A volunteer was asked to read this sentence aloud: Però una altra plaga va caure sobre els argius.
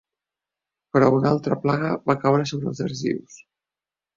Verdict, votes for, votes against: accepted, 2, 0